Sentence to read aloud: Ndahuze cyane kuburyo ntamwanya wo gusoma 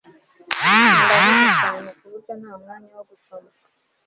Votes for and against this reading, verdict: 1, 2, rejected